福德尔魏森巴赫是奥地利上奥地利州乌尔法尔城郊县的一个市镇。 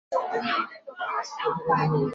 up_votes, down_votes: 0, 3